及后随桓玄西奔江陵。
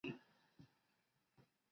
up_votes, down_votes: 0, 2